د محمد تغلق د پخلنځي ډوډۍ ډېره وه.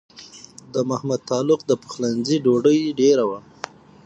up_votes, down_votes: 6, 0